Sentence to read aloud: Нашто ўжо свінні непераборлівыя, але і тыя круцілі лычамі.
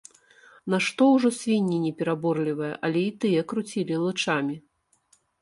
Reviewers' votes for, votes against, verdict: 2, 1, accepted